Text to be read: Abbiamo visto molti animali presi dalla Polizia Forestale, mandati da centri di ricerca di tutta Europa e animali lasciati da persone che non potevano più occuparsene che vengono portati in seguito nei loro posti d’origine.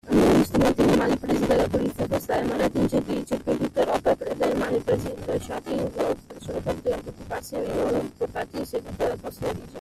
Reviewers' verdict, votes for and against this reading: rejected, 1, 2